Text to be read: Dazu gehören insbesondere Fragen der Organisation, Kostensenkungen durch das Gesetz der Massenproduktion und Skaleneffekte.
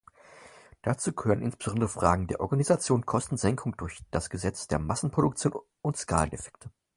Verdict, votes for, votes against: accepted, 4, 0